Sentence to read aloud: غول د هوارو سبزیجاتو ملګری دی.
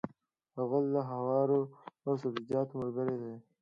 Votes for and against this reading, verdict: 2, 0, accepted